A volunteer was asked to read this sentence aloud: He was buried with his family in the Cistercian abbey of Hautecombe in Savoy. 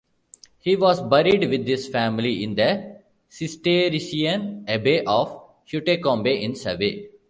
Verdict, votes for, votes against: rejected, 0, 2